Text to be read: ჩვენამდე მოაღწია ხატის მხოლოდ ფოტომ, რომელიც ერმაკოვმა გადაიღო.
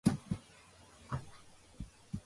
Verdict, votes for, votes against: rejected, 0, 2